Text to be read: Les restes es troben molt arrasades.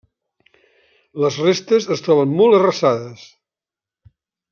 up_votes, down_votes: 1, 2